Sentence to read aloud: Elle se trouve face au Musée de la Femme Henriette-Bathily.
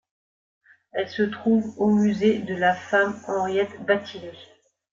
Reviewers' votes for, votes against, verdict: 0, 2, rejected